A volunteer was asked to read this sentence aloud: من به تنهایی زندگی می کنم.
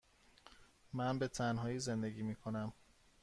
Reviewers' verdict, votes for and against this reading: accepted, 2, 0